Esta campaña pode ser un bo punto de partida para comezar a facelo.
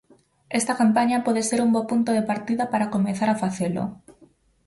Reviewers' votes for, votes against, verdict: 4, 0, accepted